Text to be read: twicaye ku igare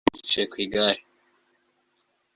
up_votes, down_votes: 2, 0